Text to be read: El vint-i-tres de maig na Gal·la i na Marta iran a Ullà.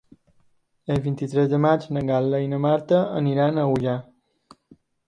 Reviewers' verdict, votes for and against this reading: rejected, 1, 2